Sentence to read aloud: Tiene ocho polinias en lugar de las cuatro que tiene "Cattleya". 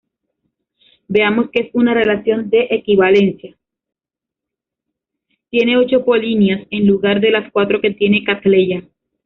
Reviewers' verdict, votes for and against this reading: rejected, 0, 2